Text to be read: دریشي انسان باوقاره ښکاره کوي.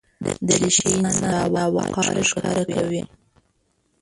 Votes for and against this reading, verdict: 1, 2, rejected